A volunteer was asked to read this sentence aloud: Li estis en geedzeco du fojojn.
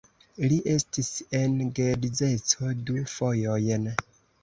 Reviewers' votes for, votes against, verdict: 2, 1, accepted